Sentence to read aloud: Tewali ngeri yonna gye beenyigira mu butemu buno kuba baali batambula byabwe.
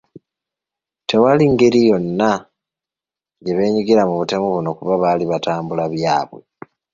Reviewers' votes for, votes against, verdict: 2, 0, accepted